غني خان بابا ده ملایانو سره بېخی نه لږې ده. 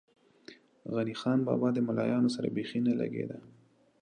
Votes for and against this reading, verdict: 0, 2, rejected